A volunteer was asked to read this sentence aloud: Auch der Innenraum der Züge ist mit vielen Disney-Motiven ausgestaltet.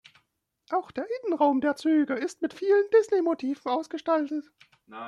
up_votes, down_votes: 0, 2